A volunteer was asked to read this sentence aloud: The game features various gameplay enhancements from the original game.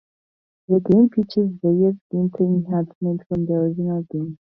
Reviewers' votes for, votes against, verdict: 0, 4, rejected